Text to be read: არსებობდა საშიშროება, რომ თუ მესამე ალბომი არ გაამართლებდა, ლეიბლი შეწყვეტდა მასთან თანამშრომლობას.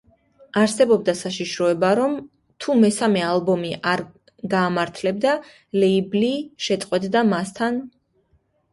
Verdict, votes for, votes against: rejected, 0, 2